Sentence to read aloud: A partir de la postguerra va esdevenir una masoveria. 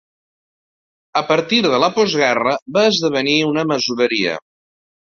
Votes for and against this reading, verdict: 2, 0, accepted